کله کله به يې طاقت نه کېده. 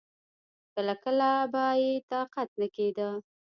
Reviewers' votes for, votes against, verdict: 2, 0, accepted